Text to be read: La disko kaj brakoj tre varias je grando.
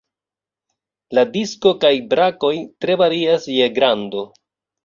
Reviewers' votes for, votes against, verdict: 2, 0, accepted